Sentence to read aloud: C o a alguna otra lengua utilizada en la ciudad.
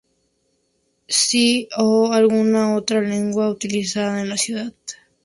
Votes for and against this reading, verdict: 2, 0, accepted